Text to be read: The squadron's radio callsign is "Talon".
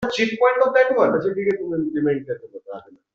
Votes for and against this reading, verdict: 1, 2, rejected